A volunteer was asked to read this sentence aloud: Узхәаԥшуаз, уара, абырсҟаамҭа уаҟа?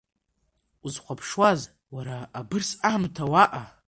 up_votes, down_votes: 1, 2